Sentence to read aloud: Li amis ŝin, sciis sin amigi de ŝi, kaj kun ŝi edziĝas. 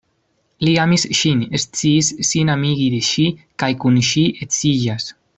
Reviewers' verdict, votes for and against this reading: rejected, 0, 2